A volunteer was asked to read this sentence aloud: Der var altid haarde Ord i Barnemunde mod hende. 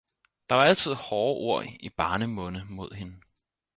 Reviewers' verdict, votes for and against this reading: accepted, 4, 0